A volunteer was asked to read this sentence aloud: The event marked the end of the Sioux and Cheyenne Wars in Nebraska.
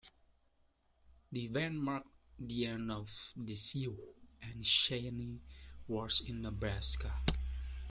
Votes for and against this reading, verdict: 2, 1, accepted